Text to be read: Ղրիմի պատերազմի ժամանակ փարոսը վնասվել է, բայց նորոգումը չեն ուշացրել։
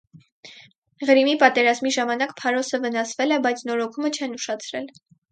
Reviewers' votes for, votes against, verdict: 4, 0, accepted